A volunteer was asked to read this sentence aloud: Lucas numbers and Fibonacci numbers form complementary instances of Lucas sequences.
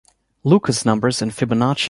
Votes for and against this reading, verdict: 0, 2, rejected